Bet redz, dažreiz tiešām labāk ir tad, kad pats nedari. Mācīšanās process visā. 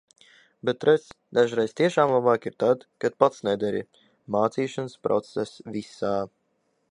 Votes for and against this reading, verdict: 0, 2, rejected